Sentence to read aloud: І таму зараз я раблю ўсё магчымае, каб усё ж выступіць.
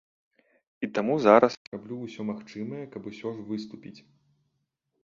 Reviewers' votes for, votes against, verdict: 2, 0, accepted